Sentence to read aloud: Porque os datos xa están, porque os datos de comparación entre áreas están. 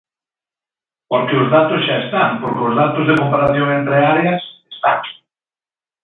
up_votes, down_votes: 2, 0